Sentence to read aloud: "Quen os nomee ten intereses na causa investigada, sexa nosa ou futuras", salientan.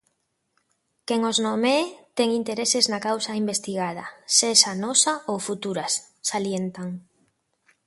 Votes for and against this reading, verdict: 2, 0, accepted